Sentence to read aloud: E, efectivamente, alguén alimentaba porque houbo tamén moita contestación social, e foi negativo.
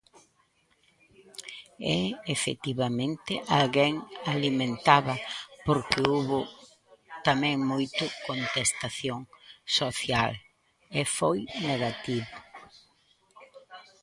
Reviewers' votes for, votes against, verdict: 0, 2, rejected